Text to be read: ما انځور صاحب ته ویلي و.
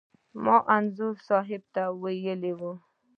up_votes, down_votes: 1, 2